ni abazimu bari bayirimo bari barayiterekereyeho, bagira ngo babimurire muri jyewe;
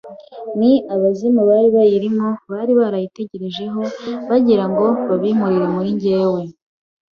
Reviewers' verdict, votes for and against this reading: rejected, 1, 2